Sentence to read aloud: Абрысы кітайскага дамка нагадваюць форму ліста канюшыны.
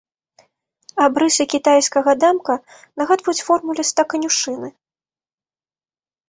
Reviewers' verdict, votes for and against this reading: rejected, 1, 2